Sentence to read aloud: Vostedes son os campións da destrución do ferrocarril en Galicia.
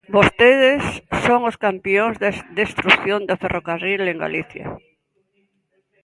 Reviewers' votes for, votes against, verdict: 0, 2, rejected